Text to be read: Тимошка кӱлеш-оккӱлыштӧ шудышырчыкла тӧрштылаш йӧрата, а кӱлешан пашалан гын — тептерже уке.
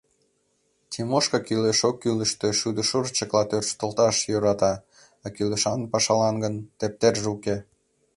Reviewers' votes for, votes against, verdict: 2, 1, accepted